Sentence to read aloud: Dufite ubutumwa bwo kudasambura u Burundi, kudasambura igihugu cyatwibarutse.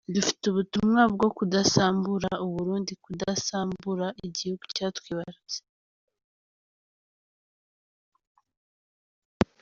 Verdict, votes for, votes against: accepted, 2, 0